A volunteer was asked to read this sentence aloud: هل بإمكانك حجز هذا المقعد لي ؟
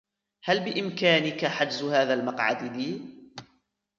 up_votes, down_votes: 0, 2